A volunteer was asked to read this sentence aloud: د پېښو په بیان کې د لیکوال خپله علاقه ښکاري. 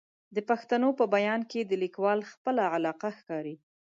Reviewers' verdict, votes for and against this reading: rejected, 0, 2